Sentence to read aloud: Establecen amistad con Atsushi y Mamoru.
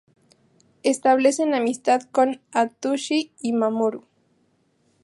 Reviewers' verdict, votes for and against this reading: accepted, 2, 0